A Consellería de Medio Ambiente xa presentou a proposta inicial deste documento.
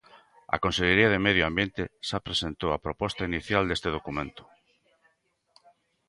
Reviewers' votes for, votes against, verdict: 2, 0, accepted